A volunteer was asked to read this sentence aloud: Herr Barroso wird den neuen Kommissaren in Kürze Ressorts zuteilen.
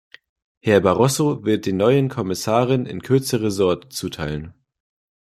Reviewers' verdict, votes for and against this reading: rejected, 0, 2